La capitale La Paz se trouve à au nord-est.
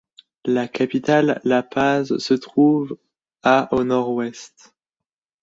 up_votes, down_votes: 0, 2